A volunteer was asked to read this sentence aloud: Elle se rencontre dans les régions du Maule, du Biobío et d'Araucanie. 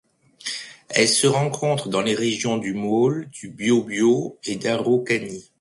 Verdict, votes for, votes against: accepted, 2, 1